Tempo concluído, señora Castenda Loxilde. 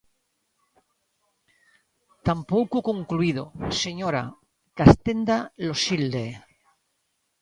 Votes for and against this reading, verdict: 0, 2, rejected